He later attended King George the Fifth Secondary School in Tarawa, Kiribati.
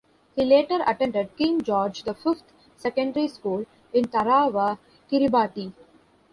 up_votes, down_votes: 2, 0